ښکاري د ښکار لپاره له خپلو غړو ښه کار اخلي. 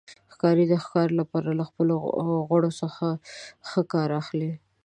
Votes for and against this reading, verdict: 0, 2, rejected